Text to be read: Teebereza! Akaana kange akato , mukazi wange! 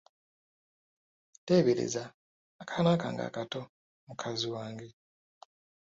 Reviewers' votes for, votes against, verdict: 2, 1, accepted